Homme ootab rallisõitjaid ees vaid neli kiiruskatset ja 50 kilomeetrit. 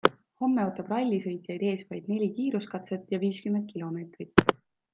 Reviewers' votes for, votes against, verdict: 0, 2, rejected